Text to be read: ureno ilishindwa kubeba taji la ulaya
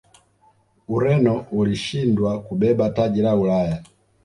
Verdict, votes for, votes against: rejected, 1, 2